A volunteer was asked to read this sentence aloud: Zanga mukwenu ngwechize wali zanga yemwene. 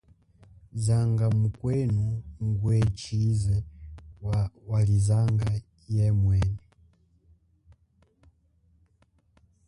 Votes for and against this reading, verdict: 1, 2, rejected